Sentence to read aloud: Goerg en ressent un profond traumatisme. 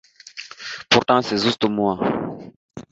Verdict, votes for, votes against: rejected, 0, 2